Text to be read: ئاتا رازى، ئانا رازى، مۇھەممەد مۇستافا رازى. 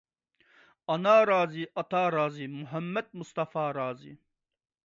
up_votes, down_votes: 0, 2